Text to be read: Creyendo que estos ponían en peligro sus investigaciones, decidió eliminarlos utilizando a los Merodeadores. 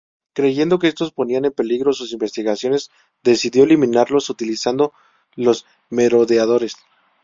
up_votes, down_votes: 0, 2